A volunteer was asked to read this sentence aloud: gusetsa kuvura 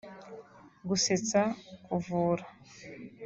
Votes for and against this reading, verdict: 1, 2, rejected